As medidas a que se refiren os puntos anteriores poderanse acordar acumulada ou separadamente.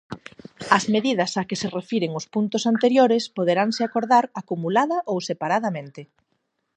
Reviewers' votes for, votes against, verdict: 4, 0, accepted